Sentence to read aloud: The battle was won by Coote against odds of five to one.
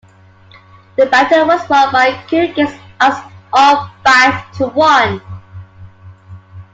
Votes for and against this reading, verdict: 1, 2, rejected